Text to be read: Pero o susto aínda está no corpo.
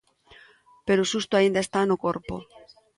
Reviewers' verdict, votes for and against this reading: accepted, 2, 0